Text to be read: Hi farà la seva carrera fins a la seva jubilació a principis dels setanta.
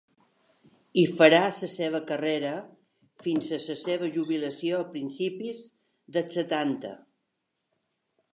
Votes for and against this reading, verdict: 2, 0, accepted